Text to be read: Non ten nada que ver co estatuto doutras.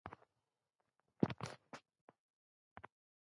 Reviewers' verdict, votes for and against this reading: rejected, 0, 2